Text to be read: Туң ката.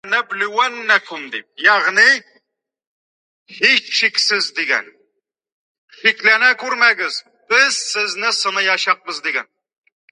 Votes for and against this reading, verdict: 0, 2, rejected